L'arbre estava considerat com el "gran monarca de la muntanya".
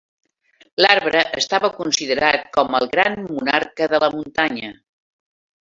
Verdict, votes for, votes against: accepted, 3, 0